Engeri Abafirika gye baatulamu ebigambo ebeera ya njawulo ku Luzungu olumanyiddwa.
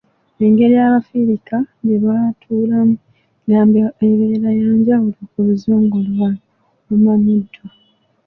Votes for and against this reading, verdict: 0, 2, rejected